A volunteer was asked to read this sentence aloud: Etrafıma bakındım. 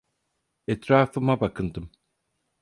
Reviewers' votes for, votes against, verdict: 4, 0, accepted